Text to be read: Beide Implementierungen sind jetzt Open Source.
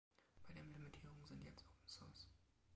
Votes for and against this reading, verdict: 0, 2, rejected